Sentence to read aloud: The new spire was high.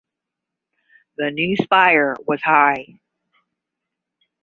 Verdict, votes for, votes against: accepted, 10, 0